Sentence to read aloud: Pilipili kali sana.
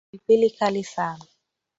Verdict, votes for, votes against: accepted, 7, 2